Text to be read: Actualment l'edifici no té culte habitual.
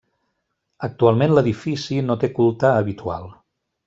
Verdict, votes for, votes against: accepted, 3, 0